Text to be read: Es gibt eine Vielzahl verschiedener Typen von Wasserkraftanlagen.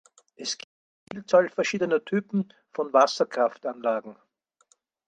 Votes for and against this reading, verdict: 0, 4, rejected